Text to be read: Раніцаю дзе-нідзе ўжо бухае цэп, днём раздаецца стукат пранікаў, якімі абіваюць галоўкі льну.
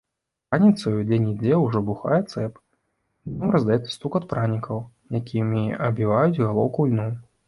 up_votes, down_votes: 0, 2